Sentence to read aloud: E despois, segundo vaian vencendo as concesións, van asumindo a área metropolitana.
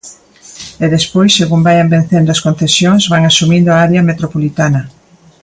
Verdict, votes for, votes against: accepted, 2, 1